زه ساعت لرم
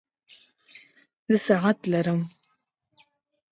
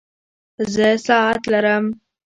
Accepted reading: first